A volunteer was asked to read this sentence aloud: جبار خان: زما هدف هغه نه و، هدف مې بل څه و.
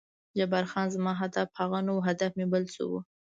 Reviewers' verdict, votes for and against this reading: accepted, 2, 0